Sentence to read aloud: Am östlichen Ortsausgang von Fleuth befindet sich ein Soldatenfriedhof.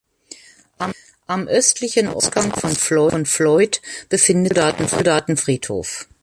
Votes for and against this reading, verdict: 0, 2, rejected